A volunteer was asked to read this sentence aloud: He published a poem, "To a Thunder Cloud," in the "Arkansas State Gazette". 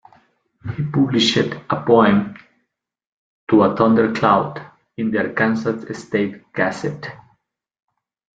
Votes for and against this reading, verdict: 1, 2, rejected